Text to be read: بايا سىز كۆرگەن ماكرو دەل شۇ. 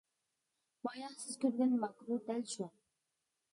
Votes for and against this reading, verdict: 2, 0, accepted